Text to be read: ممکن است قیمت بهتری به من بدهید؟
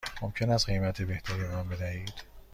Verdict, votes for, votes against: accepted, 2, 0